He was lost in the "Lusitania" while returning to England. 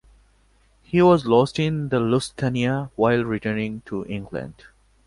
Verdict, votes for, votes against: accepted, 2, 0